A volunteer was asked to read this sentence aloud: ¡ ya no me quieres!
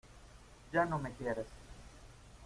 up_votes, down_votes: 2, 1